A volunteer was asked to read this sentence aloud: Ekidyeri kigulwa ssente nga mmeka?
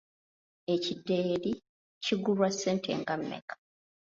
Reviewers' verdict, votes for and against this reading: rejected, 1, 2